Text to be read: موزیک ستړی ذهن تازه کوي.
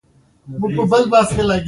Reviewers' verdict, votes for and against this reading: rejected, 0, 2